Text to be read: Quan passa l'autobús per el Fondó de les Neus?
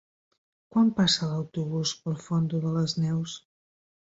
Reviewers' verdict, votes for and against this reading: rejected, 2, 3